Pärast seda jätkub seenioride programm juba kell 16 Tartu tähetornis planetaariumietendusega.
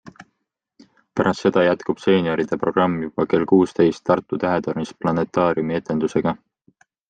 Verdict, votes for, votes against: rejected, 0, 2